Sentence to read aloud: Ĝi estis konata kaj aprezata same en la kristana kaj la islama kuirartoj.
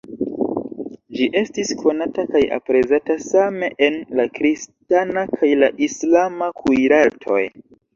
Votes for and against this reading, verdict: 0, 2, rejected